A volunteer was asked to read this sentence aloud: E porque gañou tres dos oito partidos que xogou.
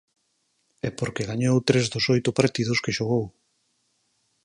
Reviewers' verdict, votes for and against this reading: accepted, 4, 0